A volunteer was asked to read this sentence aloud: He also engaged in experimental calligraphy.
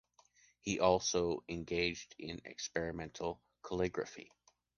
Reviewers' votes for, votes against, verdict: 2, 0, accepted